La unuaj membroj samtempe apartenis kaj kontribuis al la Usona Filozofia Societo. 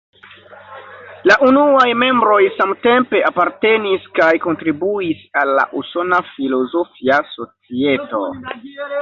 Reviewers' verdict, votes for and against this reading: accepted, 2, 0